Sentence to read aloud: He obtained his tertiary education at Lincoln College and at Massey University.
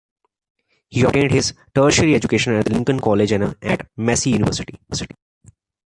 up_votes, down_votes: 1, 2